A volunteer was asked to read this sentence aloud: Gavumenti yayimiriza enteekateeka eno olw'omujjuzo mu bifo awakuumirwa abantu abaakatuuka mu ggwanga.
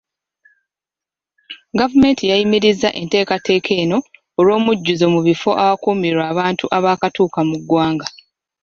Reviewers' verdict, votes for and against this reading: accepted, 2, 0